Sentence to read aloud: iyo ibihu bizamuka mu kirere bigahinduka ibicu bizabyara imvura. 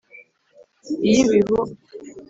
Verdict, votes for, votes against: rejected, 1, 2